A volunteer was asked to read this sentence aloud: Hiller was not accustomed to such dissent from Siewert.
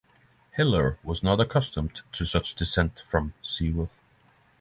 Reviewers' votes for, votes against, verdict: 3, 3, rejected